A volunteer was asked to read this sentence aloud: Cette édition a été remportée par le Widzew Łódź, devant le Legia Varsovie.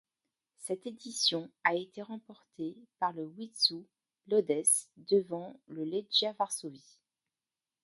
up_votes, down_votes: 2, 0